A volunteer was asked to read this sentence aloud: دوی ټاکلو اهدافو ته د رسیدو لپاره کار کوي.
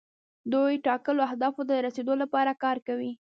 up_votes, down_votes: 1, 2